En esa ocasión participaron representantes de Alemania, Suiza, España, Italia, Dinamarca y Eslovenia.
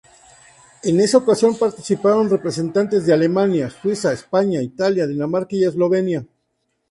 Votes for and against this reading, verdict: 2, 0, accepted